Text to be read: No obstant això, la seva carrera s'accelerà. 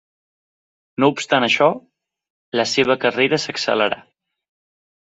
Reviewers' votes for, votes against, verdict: 3, 0, accepted